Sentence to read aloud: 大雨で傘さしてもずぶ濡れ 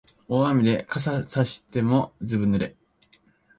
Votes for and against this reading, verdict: 0, 2, rejected